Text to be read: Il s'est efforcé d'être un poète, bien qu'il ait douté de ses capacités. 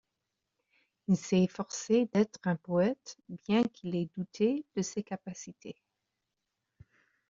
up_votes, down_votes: 2, 0